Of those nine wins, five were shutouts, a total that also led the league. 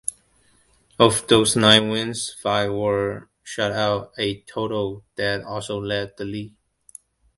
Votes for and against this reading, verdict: 2, 1, accepted